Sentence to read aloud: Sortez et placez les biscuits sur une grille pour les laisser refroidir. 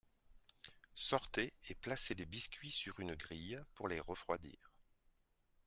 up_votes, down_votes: 0, 2